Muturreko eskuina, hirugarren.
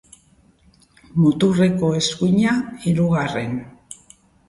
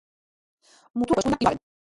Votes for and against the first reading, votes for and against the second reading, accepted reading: 2, 0, 0, 2, first